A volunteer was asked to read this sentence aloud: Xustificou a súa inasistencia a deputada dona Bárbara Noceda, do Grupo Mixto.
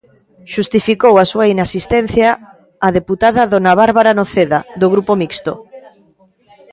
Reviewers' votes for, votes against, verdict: 2, 1, accepted